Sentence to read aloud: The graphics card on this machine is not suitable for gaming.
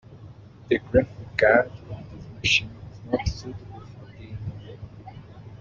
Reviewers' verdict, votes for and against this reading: rejected, 0, 2